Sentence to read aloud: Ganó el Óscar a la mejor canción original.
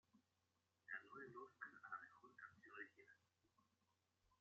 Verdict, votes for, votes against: rejected, 0, 2